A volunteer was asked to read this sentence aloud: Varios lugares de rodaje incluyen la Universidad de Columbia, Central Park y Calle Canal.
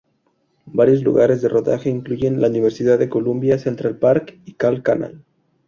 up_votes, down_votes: 0, 2